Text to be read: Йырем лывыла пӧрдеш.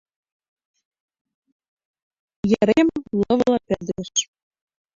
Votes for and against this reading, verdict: 1, 2, rejected